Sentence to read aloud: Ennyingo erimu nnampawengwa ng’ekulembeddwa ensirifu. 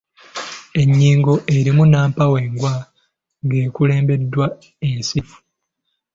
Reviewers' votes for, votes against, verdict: 2, 0, accepted